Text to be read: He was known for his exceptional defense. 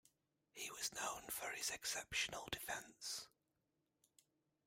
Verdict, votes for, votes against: rejected, 1, 2